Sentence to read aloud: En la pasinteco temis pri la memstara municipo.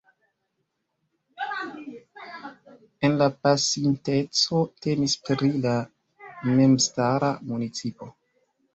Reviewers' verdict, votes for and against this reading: rejected, 0, 2